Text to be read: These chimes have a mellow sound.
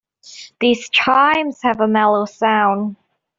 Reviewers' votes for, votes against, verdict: 2, 1, accepted